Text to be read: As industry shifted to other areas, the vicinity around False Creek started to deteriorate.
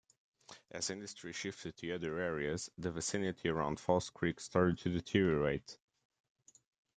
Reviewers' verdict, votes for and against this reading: accepted, 2, 0